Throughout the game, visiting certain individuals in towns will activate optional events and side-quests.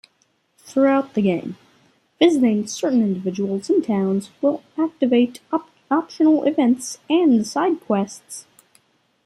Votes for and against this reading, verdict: 0, 3, rejected